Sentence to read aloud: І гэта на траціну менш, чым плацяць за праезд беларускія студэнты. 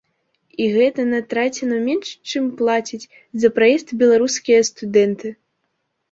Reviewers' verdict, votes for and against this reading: rejected, 0, 2